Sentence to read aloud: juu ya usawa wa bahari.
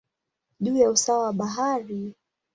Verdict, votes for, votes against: accepted, 16, 2